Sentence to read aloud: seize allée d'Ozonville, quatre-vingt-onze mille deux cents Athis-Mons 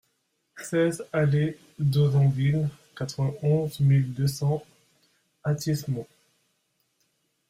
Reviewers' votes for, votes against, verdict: 2, 0, accepted